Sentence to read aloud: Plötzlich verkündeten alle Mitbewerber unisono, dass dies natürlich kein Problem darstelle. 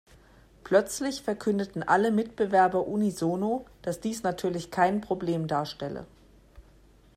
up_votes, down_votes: 2, 0